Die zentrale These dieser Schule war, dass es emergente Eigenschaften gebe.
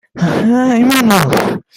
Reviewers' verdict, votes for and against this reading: rejected, 0, 2